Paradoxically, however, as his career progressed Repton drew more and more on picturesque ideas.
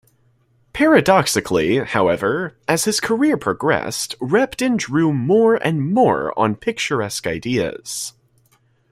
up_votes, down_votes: 2, 0